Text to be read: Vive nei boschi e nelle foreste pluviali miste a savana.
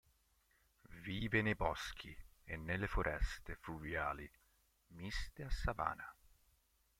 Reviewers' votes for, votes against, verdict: 1, 2, rejected